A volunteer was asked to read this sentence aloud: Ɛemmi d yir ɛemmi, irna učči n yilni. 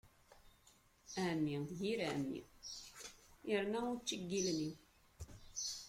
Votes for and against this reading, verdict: 2, 0, accepted